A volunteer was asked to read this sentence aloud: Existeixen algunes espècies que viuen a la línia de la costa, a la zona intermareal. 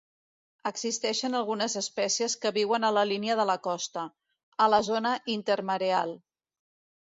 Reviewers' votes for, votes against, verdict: 2, 0, accepted